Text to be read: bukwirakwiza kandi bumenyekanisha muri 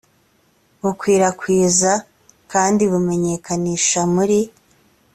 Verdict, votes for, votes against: accepted, 2, 1